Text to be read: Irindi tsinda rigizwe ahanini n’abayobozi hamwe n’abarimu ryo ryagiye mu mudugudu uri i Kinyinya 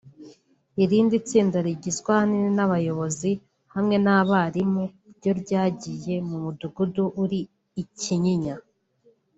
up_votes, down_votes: 2, 1